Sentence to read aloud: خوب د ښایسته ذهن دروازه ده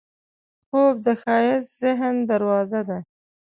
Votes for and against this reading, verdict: 2, 0, accepted